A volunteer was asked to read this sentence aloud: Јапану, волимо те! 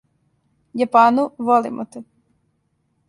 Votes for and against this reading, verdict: 2, 0, accepted